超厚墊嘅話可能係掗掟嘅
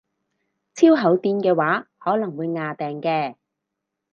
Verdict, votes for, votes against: rejected, 2, 2